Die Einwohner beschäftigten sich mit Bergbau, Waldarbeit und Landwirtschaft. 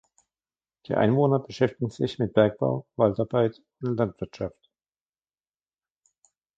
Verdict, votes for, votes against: rejected, 1, 2